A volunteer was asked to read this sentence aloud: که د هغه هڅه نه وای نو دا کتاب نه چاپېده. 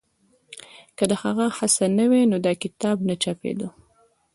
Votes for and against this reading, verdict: 1, 2, rejected